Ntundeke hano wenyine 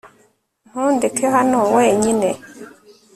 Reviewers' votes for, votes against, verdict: 3, 0, accepted